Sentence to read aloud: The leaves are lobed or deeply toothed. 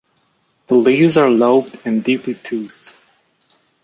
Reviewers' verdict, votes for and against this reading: rejected, 0, 2